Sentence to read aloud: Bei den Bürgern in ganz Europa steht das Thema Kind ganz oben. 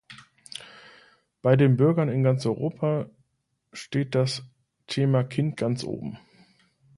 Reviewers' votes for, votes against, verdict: 2, 0, accepted